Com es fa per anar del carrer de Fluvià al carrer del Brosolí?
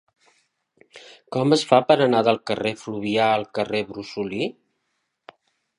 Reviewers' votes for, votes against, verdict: 0, 2, rejected